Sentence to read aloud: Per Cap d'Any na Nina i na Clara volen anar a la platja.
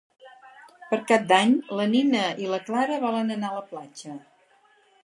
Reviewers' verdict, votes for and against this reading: rejected, 2, 4